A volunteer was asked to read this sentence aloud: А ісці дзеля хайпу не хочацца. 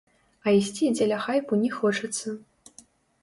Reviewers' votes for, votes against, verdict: 1, 2, rejected